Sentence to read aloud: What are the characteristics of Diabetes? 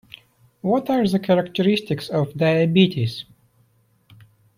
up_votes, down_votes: 2, 0